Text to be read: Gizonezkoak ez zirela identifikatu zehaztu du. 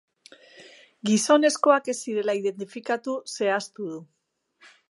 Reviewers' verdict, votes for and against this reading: accepted, 2, 0